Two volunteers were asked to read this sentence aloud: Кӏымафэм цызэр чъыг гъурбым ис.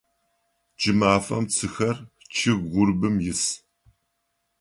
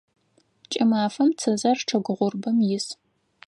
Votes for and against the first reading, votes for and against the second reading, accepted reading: 1, 2, 4, 0, second